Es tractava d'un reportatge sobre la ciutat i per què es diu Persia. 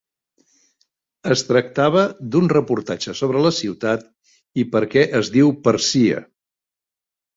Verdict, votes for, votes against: rejected, 0, 2